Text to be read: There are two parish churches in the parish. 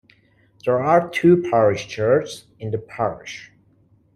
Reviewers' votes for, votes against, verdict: 0, 2, rejected